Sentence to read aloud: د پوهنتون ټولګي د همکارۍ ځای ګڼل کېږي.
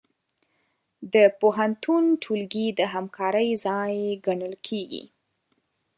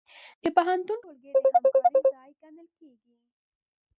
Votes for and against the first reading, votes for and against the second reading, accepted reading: 2, 0, 0, 2, first